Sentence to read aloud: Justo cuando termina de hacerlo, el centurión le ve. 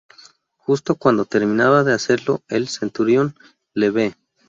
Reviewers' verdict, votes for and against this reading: rejected, 0, 2